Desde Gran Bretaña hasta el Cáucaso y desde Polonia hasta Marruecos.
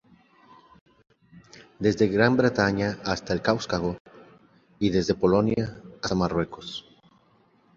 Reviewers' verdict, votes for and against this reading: rejected, 0, 2